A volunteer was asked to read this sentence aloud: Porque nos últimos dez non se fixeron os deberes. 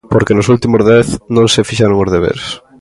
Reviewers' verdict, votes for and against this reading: accepted, 2, 0